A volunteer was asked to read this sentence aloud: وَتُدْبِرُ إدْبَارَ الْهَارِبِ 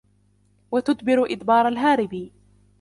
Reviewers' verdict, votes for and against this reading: rejected, 0, 2